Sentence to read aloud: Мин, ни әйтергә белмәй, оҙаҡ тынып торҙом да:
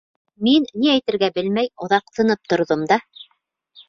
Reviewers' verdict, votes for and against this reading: accepted, 2, 0